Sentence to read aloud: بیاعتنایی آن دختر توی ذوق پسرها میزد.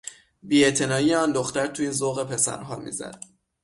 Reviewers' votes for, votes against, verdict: 6, 0, accepted